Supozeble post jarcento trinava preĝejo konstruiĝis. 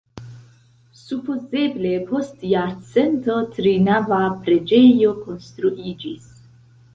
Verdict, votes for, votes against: accepted, 2, 0